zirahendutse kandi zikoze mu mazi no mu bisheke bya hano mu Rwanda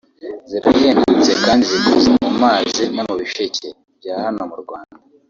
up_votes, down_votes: 2, 1